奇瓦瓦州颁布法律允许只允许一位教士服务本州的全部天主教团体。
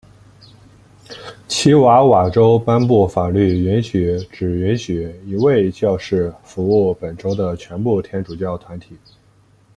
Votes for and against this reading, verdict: 2, 0, accepted